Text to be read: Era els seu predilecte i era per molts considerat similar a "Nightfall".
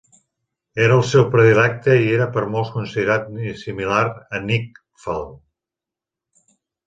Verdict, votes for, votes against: rejected, 0, 2